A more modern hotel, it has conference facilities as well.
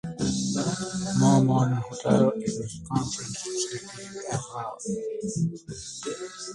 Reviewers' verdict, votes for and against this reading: rejected, 0, 2